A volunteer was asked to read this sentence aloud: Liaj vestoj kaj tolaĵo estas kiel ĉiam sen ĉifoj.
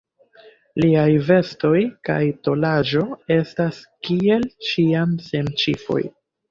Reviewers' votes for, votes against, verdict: 0, 2, rejected